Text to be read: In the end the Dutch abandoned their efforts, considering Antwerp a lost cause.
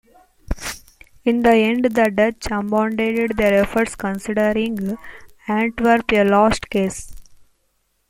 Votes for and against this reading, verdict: 2, 0, accepted